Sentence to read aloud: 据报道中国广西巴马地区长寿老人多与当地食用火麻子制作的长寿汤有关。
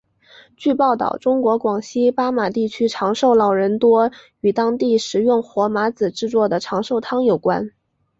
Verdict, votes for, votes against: accepted, 4, 0